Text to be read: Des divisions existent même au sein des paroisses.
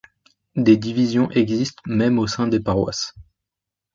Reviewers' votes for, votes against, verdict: 2, 0, accepted